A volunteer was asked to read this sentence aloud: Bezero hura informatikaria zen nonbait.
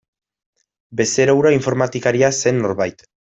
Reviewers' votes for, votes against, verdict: 1, 2, rejected